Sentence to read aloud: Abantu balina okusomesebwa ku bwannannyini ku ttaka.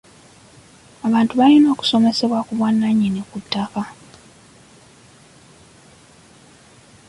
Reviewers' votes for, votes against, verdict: 2, 1, accepted